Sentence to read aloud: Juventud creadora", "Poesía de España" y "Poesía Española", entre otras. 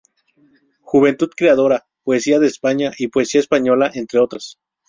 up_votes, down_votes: 0, 2